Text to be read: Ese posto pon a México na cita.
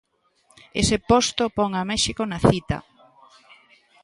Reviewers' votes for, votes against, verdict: 2, 0, accepted